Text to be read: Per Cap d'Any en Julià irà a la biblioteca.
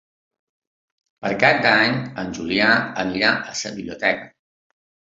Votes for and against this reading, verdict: 0, 2, rejected